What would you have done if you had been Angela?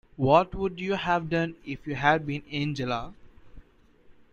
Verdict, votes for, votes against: accepted, 2, 0